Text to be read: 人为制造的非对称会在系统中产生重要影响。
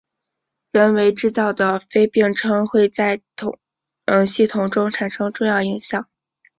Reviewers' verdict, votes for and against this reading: accepted, 2, 1